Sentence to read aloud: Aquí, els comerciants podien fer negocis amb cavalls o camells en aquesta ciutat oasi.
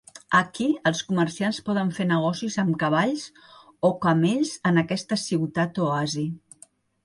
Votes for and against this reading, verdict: 1, 2, rejected